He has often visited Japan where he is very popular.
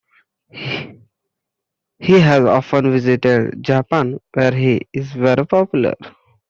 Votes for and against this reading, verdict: 2, 1, accepted